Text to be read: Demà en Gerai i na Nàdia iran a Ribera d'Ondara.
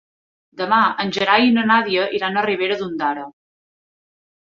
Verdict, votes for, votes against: accepted, 3, 0